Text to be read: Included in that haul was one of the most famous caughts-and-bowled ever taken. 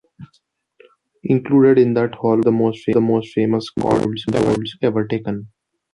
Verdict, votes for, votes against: rejected, 0, 2